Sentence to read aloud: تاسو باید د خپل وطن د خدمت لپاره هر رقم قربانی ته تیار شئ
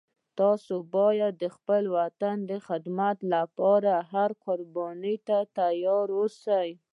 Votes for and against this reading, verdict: 1, 2, rejected